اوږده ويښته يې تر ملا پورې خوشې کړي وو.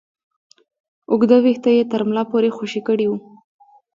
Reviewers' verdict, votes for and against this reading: rejected, 1, 2